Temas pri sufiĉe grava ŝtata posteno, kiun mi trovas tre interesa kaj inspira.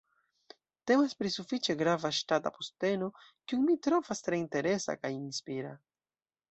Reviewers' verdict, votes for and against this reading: accepted, 2, 0